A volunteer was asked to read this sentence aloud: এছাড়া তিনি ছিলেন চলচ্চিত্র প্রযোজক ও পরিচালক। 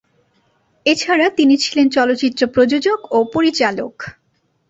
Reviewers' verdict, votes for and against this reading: accepted, 2, 0